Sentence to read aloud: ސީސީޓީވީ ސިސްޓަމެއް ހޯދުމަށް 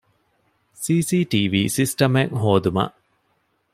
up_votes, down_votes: 2, 0